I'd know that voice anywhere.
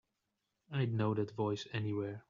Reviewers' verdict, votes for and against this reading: accepted, 3, 0